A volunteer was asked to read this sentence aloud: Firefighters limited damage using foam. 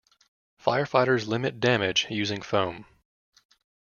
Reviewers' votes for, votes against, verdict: 0, 2, rejected